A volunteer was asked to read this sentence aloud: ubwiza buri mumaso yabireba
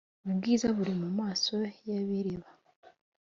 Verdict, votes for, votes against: accepted, 2, 0